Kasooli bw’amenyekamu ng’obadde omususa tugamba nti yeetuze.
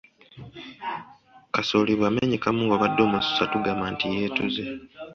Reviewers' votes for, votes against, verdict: 2, 0, accepted